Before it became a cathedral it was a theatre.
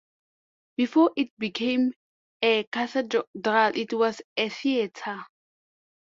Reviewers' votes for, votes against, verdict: 0, 2, rejected